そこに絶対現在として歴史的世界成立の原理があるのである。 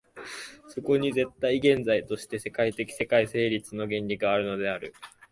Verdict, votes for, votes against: rejected, 0, 2